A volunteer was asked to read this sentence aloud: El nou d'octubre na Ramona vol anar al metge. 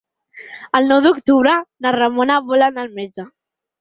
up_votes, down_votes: 6, 0